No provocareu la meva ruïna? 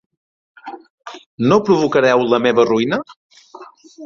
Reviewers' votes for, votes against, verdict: 3, 0, accepted